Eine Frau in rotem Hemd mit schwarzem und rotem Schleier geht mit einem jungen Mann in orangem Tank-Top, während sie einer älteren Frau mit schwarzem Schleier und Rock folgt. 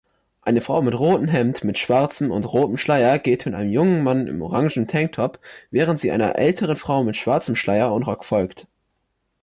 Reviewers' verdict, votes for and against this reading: rejected, 1, 3